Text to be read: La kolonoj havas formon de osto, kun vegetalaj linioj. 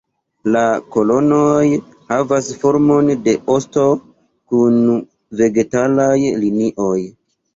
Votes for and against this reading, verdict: 2, 0, accepted